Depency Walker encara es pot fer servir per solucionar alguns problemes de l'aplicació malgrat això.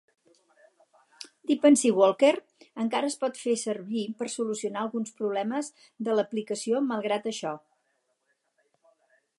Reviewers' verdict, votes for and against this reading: accepted, 4, 0